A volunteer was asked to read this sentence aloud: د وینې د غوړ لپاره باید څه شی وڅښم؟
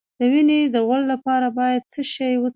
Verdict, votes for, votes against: rejected, 0, 2